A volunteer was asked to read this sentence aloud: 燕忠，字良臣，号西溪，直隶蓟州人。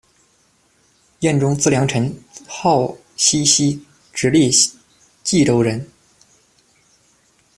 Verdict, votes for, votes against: accepted, 2, 0